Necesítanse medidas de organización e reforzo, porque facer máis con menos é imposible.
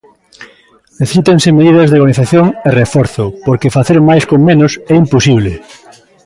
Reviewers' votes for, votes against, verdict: 2, 0, accepted